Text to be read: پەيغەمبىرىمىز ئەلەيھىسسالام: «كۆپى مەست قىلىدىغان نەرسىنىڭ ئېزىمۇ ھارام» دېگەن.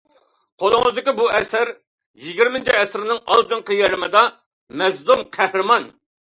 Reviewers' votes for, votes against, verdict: 0, 2, rejected